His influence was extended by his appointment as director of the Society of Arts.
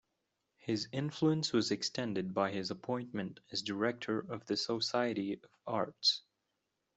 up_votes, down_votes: 2, 0